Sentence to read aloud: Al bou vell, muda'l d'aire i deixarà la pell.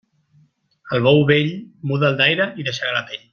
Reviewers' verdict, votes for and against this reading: accepted, 2, 0